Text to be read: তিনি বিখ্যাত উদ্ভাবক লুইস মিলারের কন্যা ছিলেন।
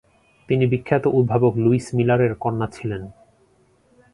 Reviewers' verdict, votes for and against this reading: accepted, 2, 0